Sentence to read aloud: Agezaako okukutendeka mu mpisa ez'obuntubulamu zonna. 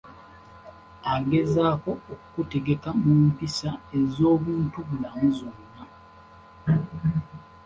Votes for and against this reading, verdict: 0, 2, rejected